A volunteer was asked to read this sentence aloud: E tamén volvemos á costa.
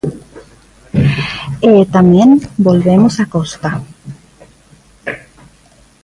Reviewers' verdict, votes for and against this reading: accepted, 2, 0